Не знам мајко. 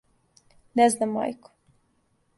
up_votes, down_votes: 2, 0